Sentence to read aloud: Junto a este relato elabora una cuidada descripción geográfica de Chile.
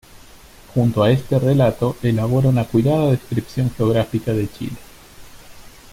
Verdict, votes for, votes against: accepted, 2, 1